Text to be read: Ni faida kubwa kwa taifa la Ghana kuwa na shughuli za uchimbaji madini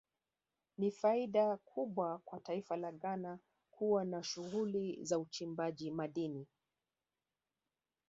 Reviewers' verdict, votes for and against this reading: rejected, 1, 3